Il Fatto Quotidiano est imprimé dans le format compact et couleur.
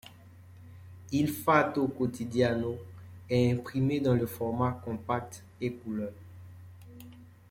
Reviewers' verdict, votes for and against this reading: accepted, 2, 0